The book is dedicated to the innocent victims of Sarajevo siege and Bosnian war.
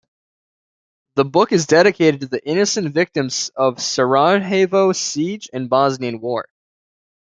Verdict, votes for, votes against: rejected, 1, 2